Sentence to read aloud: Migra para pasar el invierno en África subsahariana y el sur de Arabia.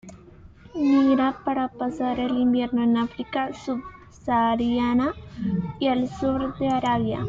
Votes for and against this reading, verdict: 2, 0, accepted